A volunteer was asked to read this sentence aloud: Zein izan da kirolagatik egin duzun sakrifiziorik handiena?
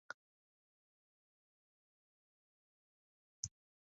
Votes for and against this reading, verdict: 0, 2, rejected